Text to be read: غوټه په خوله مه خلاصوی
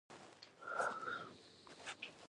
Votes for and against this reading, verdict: 1, 2, rejected